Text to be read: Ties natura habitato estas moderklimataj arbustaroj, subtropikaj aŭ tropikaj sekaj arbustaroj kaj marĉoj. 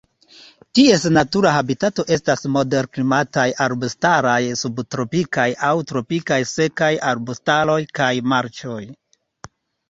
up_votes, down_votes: 2, 0